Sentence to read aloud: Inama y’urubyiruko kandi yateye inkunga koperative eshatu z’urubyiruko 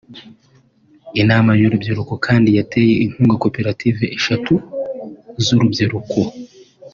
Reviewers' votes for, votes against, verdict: 2, 0, accepted